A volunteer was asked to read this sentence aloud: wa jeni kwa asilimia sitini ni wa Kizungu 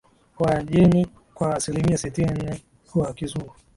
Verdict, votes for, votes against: accepted, 2, 0